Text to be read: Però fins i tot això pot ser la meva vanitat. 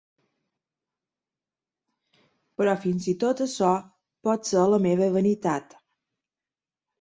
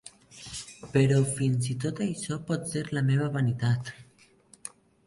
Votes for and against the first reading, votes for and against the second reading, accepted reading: 3, 0, 1, 2, first